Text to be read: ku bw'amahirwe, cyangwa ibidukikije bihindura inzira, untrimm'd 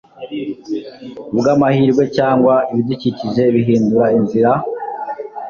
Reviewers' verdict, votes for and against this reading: rejected, 1, 2